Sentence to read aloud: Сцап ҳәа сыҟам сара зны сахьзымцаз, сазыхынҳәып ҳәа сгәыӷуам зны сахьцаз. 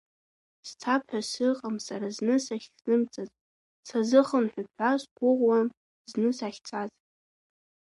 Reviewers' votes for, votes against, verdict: 1, 2, rejected